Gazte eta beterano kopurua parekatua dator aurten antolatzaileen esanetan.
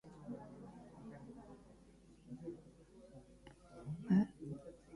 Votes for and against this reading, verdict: 0, 2, rejected